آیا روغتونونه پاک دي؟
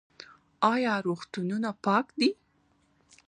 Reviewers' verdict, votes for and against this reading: accepted, 2, 0